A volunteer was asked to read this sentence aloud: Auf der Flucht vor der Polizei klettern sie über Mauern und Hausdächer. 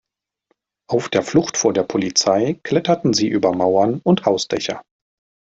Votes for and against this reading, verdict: 1, 2, rejected